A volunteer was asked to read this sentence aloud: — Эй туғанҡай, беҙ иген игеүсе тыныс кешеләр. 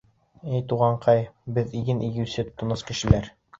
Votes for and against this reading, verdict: 2, 0, accepted